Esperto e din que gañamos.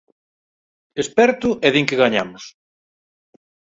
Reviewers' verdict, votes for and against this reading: accepted, 4, 0